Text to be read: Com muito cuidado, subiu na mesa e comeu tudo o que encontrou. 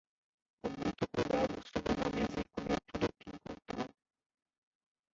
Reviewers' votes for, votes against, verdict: 1, 2, rejected